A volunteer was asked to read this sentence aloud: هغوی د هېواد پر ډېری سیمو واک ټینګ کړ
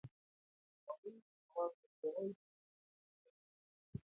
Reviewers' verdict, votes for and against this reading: rejected, 0, 2